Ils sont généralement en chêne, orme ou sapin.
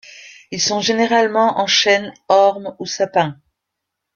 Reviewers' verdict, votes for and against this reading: accepted, 2, 0